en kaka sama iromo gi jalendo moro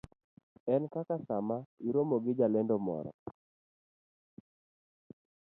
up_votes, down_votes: 0, 2